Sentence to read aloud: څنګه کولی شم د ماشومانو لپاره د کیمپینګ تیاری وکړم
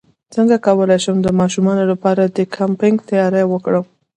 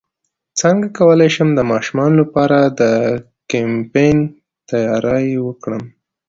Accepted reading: second